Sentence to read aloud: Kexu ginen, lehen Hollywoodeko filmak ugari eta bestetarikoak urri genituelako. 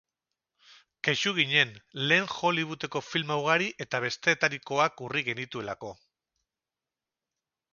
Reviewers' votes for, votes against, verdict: 2, 2, rejected